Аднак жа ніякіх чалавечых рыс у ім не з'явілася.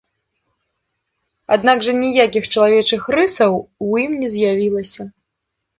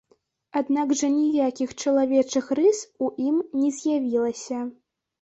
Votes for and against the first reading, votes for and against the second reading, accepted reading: 1, 2, 2, 0, second